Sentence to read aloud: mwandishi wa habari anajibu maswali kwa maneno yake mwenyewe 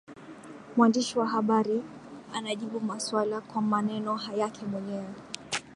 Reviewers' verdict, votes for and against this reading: rejected, 1, 3